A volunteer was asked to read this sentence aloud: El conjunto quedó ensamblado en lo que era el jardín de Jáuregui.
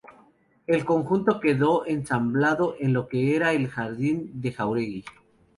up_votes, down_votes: 2, 0